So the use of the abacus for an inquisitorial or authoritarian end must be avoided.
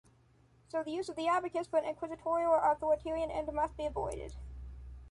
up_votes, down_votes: 1, 2